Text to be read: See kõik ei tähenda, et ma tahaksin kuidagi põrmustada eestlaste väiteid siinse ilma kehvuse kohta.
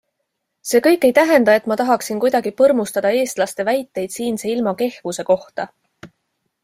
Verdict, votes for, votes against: accepted, 2, 0